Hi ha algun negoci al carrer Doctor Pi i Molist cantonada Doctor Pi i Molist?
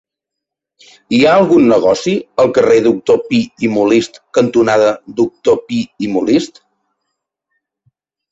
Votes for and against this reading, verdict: 3, 0, accepted